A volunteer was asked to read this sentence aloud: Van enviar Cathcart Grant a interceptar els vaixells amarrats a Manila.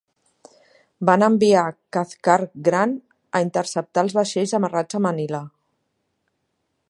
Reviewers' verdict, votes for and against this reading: accepted, 2, 1